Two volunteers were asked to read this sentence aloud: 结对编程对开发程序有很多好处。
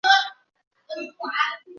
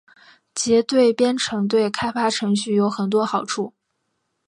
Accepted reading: second